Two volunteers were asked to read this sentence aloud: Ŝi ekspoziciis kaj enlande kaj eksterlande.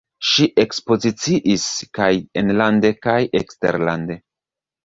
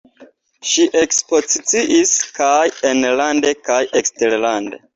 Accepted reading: second